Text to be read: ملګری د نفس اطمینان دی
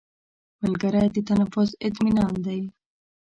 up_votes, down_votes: 1, 2